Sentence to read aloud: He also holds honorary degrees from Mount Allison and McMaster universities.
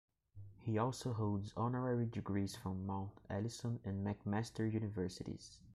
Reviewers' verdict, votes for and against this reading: accepted, 2, 0